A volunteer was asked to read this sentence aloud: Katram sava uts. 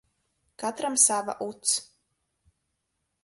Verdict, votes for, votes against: rejected, 2, 2